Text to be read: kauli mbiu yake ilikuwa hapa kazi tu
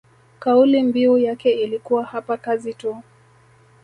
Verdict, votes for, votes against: rejected, 1, 2